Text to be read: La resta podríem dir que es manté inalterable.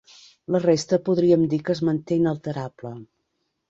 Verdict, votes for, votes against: accepted, 3, 0